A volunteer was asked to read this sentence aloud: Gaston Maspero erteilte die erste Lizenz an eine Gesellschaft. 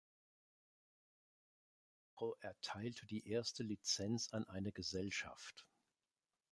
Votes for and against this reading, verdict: 0, 3, rejected